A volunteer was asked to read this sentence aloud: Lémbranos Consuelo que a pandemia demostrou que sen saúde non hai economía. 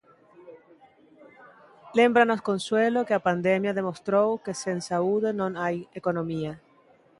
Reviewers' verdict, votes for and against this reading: accepted, 2, 0